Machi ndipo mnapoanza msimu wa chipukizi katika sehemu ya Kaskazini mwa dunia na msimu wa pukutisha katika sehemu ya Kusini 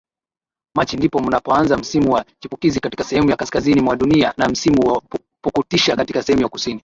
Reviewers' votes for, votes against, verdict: 6, 8, rejected